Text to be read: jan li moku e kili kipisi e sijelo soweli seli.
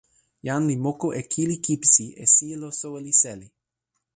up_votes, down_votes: 0, 2